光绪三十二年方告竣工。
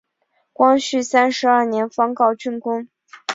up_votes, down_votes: 7, 0